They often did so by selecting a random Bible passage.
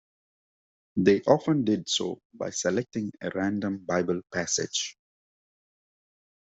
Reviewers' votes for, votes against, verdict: 2, 0, accepted